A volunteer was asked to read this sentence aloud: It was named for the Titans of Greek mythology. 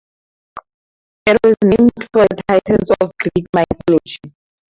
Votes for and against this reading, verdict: 0, 4, rejected